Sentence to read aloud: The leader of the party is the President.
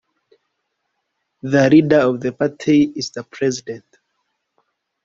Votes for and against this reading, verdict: 2, 0, accepted